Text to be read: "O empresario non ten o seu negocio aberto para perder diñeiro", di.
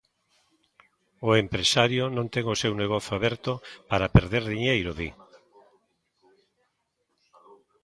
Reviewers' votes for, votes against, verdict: 1, 2, rejected